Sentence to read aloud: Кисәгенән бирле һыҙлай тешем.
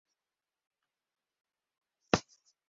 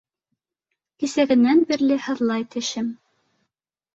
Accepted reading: second